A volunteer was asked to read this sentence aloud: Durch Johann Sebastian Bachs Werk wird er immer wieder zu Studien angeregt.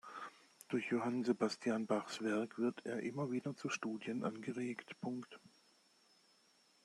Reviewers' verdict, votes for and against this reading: rejected, 0, 2